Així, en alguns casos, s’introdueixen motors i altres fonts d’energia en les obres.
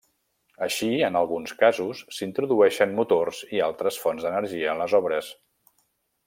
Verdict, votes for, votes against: accepted, 3, 0